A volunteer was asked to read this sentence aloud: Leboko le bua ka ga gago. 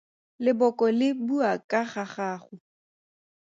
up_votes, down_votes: 2, 0